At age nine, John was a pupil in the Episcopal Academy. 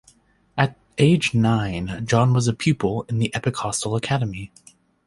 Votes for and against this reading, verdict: 1, 3, rejected